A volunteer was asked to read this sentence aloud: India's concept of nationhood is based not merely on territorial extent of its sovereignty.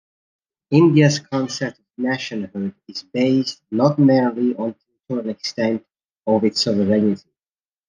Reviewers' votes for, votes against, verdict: 1, 2, rejected